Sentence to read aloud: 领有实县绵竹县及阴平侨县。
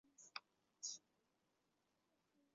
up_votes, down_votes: 0, 2